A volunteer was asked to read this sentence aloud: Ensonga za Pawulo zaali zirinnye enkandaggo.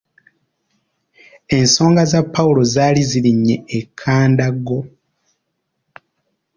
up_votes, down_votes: 1, 2